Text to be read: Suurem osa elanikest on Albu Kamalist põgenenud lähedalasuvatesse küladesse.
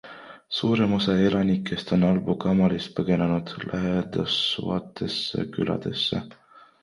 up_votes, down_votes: 2, 3